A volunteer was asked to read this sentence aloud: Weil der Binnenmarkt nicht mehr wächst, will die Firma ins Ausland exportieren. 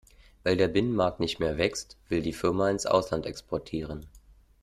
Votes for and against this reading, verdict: 2, 0, accepted